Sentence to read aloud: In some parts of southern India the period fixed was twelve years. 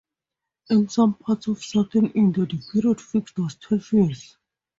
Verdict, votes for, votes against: accepted, 2, 0